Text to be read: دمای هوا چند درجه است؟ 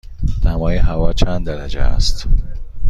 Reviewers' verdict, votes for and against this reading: accepted, 2, 0